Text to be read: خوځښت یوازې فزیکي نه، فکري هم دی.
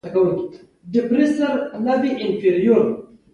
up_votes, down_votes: 2, 0